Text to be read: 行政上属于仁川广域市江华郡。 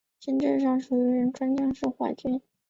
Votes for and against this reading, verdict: 2, 4, rejected